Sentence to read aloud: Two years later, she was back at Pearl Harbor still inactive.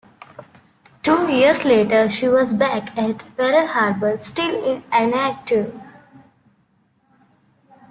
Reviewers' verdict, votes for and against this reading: accepted, 2, 1